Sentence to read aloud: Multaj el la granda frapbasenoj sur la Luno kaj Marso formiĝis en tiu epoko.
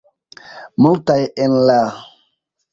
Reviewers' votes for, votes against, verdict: 0, 2, rejected